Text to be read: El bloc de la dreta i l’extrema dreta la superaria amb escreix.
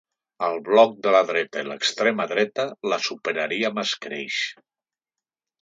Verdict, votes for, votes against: accepted, 2, 0